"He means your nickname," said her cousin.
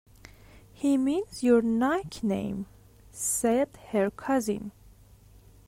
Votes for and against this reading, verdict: 0, 2, rejected